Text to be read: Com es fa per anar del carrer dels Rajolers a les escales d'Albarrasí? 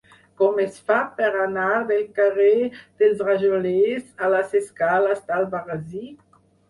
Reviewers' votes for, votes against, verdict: 4, 0, accepted